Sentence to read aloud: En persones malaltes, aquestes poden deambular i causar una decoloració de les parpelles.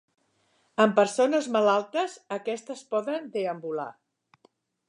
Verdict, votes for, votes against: rejected, 0, 2